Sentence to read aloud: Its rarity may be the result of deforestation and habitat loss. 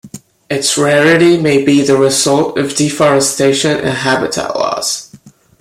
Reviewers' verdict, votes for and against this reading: accepted, 2, 0